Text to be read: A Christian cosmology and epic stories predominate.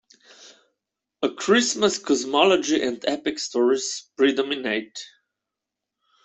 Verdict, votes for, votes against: rejected, 0, 2